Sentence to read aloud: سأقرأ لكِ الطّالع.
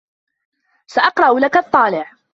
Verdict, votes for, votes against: rejected, 1, 2